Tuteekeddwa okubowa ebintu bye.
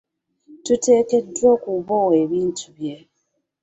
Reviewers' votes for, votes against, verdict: 2, 1, accepted